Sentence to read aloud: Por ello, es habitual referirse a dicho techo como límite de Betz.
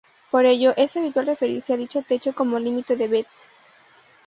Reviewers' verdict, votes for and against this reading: accepted, 2, 0